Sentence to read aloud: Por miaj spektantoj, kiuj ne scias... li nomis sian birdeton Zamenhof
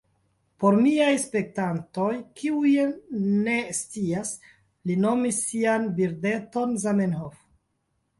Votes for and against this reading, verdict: 2, 3, rejected